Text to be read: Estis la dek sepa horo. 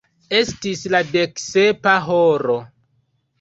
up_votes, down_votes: 2, 0